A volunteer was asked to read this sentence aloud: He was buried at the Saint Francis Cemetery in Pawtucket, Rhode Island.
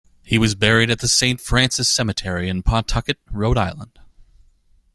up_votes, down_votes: 2, 0